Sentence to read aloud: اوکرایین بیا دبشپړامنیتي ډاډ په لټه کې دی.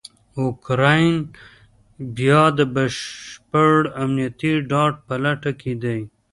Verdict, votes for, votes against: rejected, 1, 2